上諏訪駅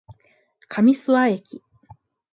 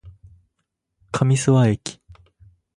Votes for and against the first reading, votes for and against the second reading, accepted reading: 0, 2, 4, 0, second